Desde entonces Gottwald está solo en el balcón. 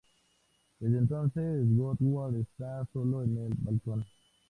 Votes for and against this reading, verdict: 2, 0, accepted